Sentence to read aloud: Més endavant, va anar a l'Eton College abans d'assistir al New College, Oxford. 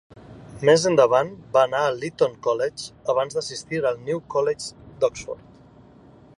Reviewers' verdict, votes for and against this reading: rejected, 0, 2